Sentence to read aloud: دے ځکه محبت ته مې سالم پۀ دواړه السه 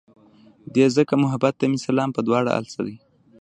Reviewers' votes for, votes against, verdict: 0, 2, rejected